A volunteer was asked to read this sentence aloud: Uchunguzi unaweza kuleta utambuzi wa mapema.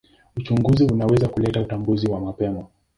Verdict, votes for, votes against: accepted, 2, 0